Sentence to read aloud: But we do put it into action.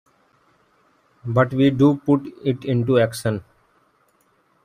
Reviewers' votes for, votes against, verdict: 2, 1, accepted